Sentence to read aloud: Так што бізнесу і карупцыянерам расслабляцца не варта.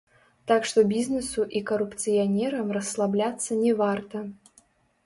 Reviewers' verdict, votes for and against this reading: rejected, 0, 2